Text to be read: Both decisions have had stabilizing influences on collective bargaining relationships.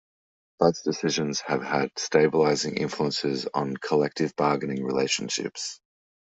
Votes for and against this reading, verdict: 2, 0, accepted